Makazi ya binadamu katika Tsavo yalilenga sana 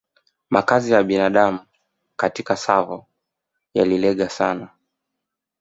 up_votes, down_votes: 1, 2